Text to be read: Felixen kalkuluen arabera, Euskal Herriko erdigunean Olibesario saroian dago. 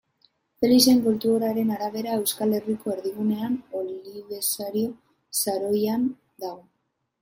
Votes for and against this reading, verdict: 0, 2, rejected